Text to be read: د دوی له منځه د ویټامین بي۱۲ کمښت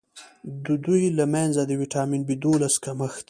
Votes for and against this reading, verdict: 0, 2, rejected